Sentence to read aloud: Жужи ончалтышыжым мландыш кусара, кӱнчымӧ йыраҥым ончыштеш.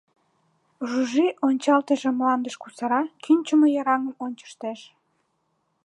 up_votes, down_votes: 1, 2